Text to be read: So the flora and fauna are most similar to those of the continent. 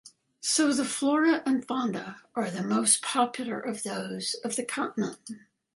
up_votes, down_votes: 0, 2